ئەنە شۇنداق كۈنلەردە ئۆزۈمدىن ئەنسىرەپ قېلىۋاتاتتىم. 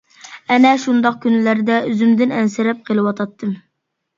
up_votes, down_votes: 2, 0